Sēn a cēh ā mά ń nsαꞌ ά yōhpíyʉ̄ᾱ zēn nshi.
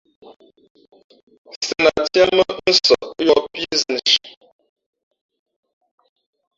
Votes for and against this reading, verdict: 1, 2, rejected